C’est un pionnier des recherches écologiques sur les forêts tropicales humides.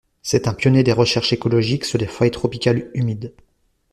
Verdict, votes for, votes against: rejected, 1, 2